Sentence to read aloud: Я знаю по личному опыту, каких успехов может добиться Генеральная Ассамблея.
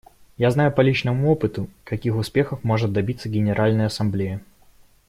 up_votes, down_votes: 2, 0